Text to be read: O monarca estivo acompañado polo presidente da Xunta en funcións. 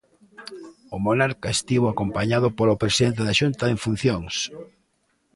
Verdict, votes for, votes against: accepted, 2, 0